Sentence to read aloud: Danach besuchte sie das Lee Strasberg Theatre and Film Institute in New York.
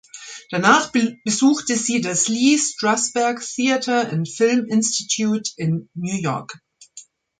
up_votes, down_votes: 0, 2